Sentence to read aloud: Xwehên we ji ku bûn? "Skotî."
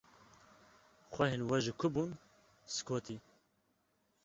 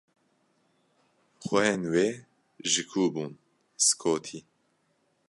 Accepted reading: first